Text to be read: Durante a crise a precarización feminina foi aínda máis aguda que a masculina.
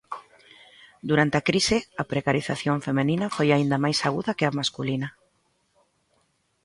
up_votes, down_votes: 2, 3